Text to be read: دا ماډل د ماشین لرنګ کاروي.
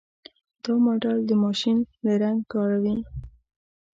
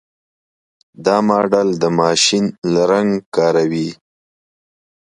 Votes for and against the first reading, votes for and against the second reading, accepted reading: 1, 2, 2, 0, second